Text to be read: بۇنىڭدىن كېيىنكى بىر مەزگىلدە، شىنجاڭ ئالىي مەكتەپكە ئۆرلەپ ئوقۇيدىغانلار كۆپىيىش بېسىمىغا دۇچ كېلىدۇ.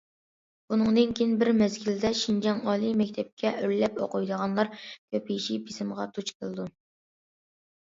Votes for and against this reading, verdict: 0, 2, rejected